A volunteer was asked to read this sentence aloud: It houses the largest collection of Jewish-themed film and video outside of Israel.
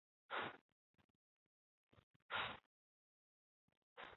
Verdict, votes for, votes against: rejected, 0, 2